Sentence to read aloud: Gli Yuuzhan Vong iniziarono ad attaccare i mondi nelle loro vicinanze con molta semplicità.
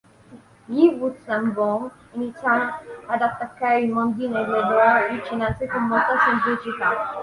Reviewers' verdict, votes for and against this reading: rejected, 2, 3